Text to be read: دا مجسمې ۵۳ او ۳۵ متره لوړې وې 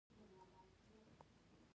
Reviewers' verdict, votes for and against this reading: rejected, 0, 2